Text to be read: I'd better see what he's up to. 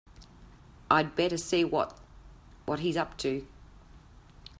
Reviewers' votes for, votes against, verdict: 0, 3, rejected